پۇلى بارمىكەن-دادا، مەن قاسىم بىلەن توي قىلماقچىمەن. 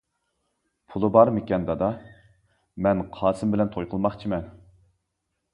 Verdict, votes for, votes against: accepted, 2, 0